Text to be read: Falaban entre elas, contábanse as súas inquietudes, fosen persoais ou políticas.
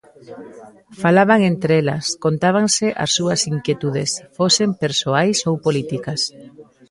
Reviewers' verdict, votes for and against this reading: rejected, 0, 2